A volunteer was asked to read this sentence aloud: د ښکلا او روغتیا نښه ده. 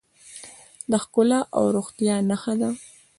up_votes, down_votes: 2, 0